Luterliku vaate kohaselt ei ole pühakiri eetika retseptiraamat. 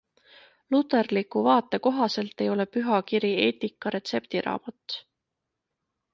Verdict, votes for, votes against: accepted, 2, 0